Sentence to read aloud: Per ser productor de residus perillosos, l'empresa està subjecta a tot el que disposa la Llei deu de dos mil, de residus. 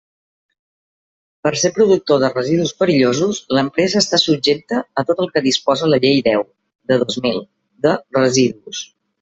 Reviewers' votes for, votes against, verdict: 3, 0, accepted